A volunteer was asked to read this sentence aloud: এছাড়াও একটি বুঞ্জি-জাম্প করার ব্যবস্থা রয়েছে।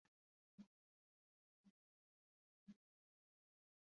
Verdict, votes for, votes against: rejected, 1, 2